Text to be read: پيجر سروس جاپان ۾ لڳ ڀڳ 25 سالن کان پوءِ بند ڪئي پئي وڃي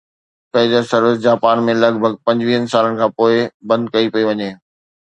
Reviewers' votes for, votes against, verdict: 0, 2, rejected